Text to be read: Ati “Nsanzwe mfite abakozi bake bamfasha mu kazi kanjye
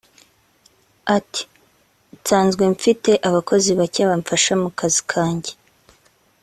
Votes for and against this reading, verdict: 3, 0, accepted